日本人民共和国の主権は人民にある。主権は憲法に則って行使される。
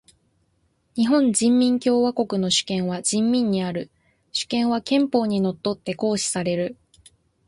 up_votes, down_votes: 2, 0